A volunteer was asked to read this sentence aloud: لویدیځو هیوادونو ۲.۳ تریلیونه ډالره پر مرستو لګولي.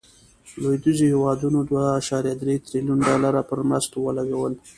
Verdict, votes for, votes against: rejected, 0, 2